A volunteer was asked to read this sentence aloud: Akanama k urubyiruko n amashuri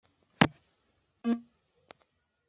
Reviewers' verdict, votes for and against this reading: rejected, 0, 2